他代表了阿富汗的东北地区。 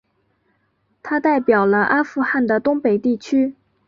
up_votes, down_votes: 4, 0